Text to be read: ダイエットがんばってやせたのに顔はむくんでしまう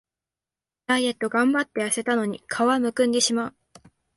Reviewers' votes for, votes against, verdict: 2, 0, accepted